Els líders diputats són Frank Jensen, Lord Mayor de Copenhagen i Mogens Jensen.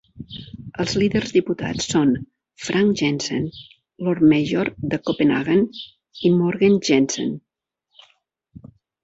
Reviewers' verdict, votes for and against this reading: accepted, 2, 0